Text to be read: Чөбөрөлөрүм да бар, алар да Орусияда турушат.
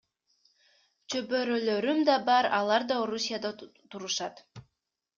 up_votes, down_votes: 2, 0